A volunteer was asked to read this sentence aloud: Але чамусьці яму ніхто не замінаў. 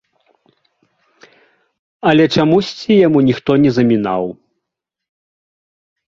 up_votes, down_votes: 1, 2